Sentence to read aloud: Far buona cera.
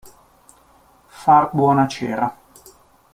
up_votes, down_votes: 2, 0